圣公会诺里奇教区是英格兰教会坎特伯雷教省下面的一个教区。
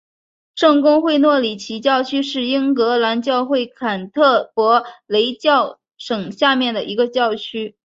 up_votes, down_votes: 3, 0